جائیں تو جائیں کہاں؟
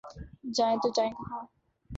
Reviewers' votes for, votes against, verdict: 2, 0, accepted